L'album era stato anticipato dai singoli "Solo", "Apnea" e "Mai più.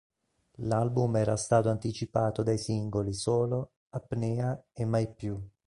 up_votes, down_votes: 2, 0